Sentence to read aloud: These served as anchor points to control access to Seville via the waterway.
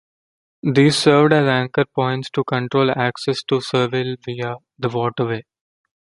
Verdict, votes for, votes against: accepted, 2, 0